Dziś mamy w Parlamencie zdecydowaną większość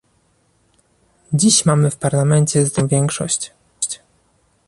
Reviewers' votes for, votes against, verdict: 1, 2, rejected